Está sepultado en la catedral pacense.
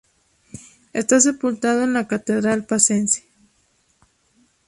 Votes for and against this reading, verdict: 2, 0, accepted